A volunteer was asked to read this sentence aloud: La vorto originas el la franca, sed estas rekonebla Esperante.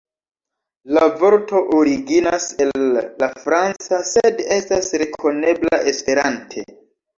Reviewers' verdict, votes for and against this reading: rejected, 1, 2